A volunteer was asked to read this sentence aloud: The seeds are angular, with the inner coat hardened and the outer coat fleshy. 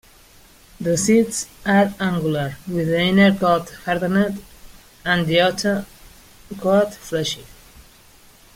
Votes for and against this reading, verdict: 0, 2, rejected